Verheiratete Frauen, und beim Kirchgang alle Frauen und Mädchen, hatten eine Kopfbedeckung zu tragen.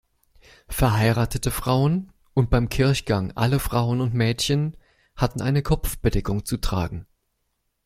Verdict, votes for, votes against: accepted, 2, 0